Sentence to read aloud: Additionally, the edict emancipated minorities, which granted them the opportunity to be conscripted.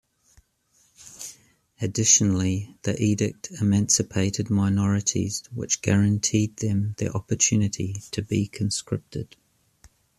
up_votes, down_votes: 2, 0